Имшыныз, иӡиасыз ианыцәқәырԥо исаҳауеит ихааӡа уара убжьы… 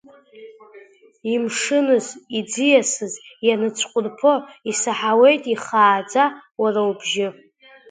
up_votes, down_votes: 2, 1